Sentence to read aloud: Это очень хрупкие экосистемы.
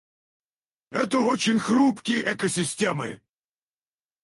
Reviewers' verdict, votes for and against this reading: rejected, 2, 4